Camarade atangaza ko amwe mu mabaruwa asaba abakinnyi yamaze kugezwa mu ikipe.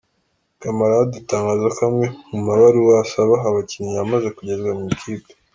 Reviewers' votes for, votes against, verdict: 2, 0, accepted